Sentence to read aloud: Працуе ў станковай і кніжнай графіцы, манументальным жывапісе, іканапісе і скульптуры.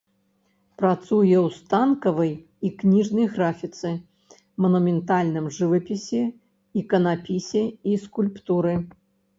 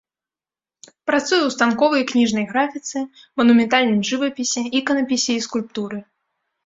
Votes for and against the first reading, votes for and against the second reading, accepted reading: 0, 2, 2, 1, second